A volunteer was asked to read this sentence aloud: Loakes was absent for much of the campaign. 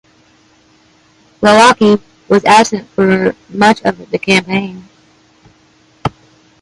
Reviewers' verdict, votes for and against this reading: rejected, 0, 2